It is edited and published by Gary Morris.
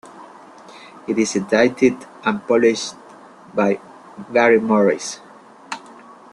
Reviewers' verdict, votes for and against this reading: rejected, 0, 2